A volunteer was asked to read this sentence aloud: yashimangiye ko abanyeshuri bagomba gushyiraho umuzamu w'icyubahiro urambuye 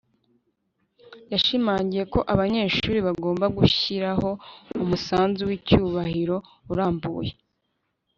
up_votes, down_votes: 0, 2